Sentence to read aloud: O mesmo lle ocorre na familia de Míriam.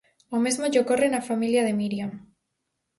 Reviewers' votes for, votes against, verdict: 4, 0, accepted